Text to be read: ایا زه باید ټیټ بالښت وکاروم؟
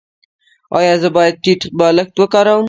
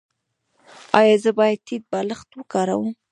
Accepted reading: second